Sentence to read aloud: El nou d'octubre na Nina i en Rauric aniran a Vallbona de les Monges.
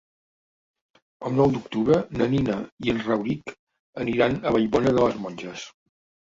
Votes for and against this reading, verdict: 3, 1, accepted